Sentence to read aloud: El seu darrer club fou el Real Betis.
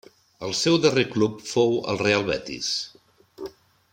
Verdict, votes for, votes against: accepted, 3, 0